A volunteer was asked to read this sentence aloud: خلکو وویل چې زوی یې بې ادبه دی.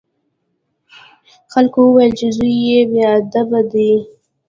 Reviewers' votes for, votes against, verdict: 0, 2, rejected